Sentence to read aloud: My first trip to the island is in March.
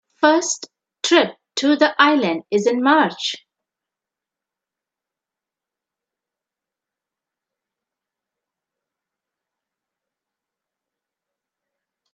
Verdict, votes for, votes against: accepted, 2, 1